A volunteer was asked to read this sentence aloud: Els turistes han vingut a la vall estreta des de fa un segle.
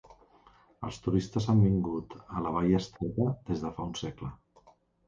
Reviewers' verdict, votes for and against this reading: accepted, 2, 0